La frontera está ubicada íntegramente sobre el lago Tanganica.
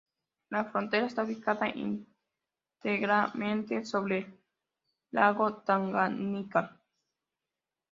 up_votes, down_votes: 1, 2